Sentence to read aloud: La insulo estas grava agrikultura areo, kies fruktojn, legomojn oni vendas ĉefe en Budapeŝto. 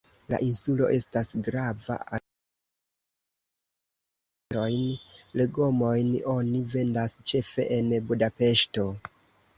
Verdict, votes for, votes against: rejected, 0, 2